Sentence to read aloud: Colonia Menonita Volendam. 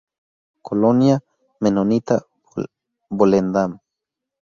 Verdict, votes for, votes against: rejected, 0, 2